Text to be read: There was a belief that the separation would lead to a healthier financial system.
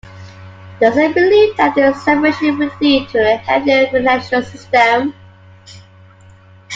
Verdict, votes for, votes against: rejected, 1, 2